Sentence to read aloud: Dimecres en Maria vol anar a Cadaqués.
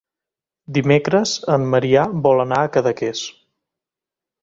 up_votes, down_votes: 1, 2